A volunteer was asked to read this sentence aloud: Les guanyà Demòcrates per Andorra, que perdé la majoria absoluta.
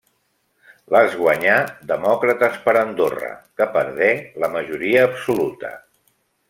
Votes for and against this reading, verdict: 3, 0, accepted